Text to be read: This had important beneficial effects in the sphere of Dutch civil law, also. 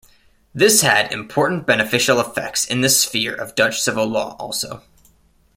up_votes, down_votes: 2, 0